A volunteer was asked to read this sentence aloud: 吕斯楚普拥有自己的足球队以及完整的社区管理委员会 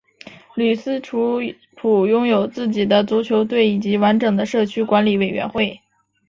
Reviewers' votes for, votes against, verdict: 2, 0, accepted